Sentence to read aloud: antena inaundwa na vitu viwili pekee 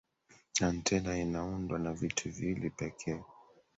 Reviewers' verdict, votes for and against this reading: accepted, 3, 1